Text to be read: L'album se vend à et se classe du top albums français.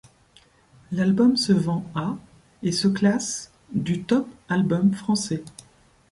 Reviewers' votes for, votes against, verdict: 2, 0, accepted